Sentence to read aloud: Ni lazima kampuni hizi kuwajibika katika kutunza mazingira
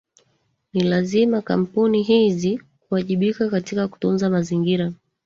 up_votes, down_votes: 1, 2